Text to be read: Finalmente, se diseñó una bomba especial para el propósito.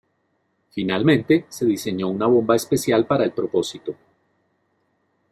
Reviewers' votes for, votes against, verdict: 2, 0, accepted